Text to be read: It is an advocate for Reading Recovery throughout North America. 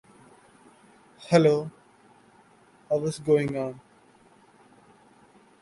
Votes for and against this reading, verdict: 0, 2, rejected